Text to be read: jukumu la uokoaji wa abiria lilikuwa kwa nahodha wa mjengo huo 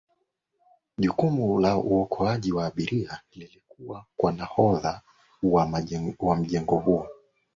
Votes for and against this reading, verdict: 0, 2, rejected